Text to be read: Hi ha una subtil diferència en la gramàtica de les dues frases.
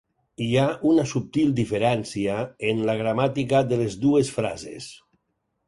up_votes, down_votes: 4, 0